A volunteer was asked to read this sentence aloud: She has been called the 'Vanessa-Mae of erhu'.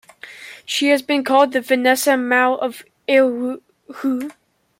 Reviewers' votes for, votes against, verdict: 1, 2, rejected